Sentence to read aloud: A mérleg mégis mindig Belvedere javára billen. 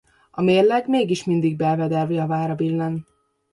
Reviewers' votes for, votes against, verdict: 2, 1, accepted